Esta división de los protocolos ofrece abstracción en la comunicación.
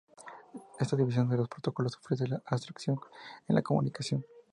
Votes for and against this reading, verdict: 2, 0, accepted